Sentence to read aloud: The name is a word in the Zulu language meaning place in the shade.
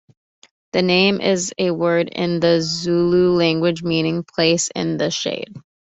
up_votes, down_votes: 2, 0